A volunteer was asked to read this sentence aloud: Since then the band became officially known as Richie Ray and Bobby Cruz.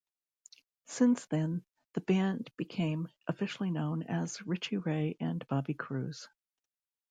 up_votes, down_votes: 2, 0